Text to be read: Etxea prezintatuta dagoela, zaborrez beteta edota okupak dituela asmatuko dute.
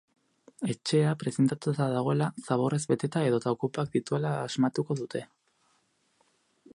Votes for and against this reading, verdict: 8, 0, accepted